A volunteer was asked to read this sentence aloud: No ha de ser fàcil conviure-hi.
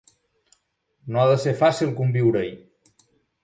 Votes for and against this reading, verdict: 3, 0, accepted